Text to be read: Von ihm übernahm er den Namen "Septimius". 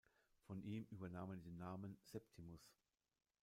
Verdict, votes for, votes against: rejected, 1, 2